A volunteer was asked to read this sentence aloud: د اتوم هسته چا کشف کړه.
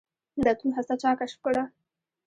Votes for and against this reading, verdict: 1, 2, rejected